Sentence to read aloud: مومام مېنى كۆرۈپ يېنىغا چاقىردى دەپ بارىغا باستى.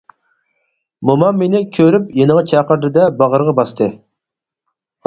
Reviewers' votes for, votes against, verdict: 0, 4, rejected